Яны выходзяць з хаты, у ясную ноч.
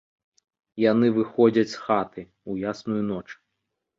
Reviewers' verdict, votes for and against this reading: accepted, 2, 0